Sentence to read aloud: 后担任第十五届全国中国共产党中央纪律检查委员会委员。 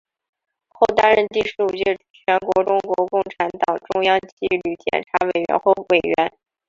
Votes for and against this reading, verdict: 4, 0, accepted